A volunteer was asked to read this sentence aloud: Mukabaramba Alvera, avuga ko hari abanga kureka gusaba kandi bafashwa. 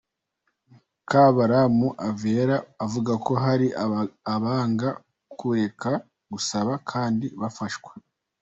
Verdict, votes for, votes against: rejected, 1, 2